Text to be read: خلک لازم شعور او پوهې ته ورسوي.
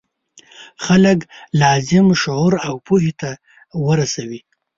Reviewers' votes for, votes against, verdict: 2, 0, accepted